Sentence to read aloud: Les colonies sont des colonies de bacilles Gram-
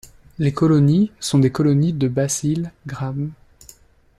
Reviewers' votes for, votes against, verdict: 2, 0, accepted